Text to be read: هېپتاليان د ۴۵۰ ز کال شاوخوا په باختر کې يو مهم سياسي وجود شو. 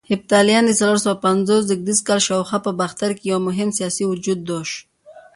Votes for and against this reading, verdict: 0, 2, rejected